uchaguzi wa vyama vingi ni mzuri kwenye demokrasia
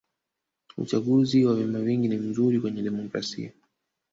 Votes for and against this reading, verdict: 2, 3, rejected